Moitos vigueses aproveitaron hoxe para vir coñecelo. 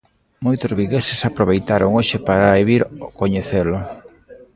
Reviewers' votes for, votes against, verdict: 0, 2, rejected